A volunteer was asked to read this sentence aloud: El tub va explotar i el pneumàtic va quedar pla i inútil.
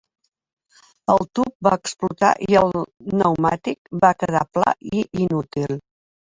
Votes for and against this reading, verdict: 3, 1, accepted